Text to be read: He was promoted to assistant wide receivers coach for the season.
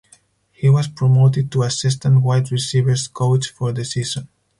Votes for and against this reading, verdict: 4, 0, accepted